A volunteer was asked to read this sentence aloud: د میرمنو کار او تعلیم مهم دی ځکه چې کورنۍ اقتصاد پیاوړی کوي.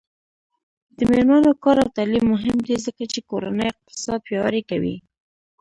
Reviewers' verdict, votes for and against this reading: rejected, 1, 2